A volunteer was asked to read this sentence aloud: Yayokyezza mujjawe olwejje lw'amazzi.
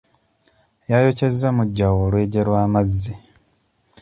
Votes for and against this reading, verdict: 2, 0, accepted